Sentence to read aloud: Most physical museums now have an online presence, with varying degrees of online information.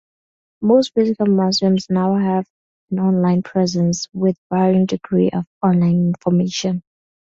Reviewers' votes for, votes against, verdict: 0, 4, rejected